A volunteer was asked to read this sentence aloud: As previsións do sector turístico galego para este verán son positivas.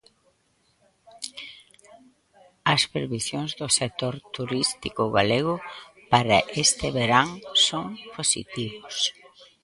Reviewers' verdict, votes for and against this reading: rejected, 0, 2